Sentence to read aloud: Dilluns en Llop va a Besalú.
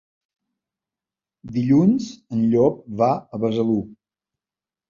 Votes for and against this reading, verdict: 2, 0, accepted